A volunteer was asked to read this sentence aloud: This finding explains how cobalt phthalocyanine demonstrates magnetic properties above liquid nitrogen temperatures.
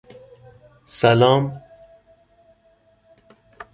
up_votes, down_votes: 1, 2